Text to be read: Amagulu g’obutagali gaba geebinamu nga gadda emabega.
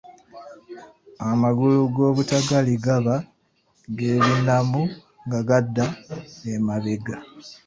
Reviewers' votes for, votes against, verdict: 2, 1, accepted